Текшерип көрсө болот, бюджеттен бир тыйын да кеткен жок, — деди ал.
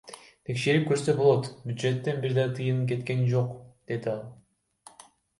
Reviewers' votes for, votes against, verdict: 1, 2, rejected